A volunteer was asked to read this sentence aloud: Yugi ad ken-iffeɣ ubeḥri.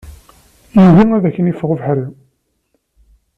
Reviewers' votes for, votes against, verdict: 2, 0, accepted